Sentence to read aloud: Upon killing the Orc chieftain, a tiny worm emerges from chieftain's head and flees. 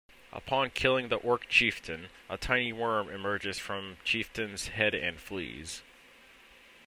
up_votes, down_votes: 2, 0